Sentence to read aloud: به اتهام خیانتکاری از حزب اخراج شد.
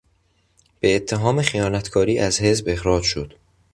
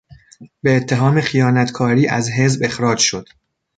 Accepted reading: first